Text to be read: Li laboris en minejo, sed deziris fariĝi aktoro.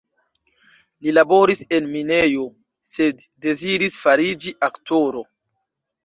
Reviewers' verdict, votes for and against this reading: accepted, 2, 0